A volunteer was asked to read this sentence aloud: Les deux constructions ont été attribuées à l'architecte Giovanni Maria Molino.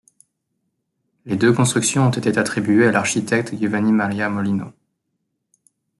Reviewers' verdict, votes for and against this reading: rejected, 1, 2